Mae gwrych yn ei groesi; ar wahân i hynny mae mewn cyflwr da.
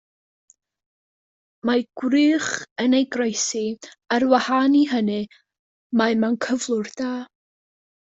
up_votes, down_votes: 2, 0